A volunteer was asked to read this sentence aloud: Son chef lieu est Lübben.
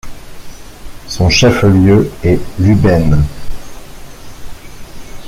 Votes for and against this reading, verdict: 1, 2, rejected